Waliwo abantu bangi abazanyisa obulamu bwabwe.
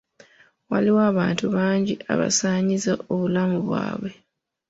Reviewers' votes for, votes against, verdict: 1, 2, rejected